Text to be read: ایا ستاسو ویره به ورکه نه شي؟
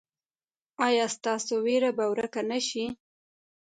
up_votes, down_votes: 2, 0